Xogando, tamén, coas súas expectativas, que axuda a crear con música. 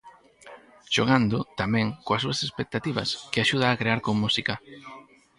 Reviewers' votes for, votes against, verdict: 0, 4, rejected